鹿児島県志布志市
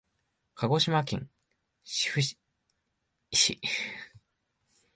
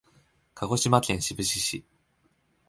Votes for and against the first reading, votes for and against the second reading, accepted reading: 0, 2, 2, 0, second